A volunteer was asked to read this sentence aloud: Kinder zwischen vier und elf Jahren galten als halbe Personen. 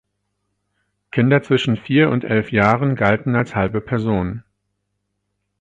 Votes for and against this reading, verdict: 4, 0, accepted